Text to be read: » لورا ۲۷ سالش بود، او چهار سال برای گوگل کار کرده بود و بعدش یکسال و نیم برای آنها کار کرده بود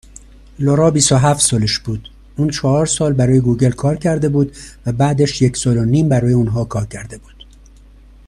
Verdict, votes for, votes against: rejected, 0, 2